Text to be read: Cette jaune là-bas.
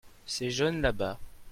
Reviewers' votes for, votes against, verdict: 0, 2, rejected